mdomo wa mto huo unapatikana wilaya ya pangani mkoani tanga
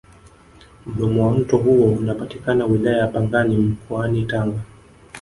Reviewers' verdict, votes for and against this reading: rejected, 1, 2